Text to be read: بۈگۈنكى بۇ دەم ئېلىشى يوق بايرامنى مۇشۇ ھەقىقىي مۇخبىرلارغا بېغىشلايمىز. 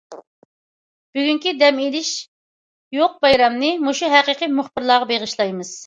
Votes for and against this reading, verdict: 0, 2, rejected